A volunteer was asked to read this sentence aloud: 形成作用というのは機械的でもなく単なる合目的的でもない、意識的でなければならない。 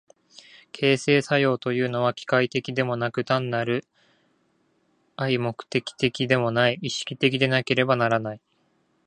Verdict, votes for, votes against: rejected, 1, 2